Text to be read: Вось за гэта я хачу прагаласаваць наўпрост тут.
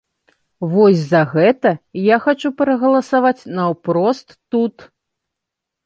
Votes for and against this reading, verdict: 2, 0, accepted